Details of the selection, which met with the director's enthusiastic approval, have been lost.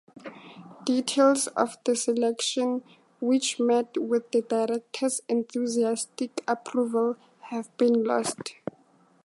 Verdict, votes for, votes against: accepted, 2, 0